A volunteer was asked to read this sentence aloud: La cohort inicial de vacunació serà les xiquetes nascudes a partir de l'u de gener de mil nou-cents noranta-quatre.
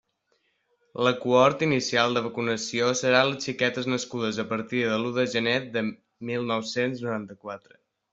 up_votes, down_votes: 1, 2